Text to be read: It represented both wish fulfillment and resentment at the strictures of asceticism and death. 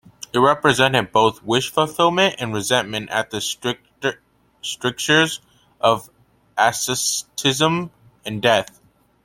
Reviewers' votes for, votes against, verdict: 2, 0, accepted